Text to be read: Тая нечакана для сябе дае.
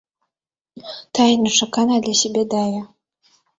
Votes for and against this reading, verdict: 1, 2, rejected